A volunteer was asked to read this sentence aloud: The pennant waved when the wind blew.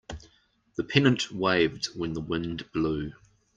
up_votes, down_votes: 2, 0